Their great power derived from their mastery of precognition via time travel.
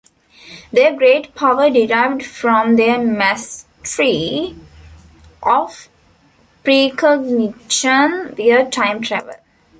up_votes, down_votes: 0, 2